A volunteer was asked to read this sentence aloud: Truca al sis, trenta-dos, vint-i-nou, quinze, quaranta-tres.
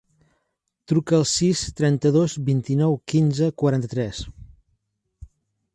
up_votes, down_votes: 3, 0